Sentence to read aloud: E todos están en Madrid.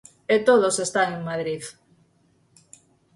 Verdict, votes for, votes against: accepted, 6, 0